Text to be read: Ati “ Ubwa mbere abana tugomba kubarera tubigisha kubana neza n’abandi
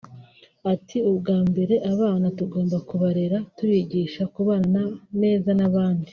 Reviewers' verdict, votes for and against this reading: rejected, 1, 2